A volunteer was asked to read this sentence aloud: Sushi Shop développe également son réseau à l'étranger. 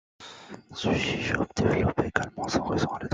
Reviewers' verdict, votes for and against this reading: rejected, 0, 2